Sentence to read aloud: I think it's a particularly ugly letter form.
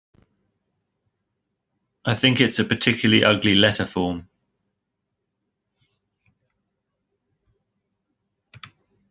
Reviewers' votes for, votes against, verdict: 2, 0, accepted